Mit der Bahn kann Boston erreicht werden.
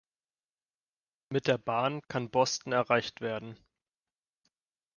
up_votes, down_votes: 2, 0